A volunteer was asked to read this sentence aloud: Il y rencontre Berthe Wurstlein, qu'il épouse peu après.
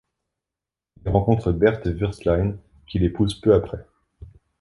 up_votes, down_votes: 2, 3